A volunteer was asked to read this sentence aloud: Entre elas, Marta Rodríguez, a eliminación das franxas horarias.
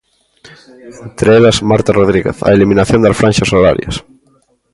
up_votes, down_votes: 2, 0